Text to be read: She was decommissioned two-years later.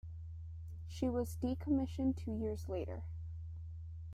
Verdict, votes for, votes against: rejected, 1, 2